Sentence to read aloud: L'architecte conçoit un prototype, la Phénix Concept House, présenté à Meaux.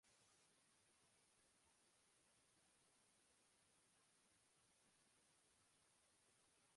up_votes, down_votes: 0, 2